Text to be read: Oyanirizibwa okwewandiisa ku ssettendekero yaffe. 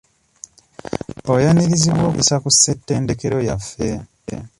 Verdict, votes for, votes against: rejected, 0, 2